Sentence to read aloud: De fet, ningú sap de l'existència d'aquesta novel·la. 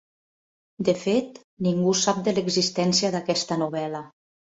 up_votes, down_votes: 3, 0